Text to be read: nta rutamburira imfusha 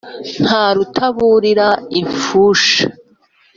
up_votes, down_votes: 1, 2